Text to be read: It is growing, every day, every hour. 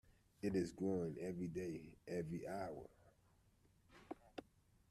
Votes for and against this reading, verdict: 2, 0, accepted